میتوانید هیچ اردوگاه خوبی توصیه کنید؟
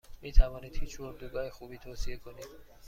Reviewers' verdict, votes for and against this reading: accepted, 2, 0